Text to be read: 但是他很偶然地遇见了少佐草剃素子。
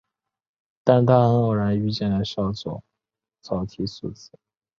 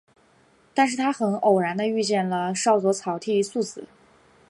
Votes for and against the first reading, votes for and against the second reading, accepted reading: 0, 3, 2, 0, second